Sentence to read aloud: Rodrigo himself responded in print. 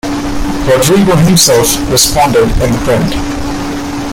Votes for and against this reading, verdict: 1, 2, rejected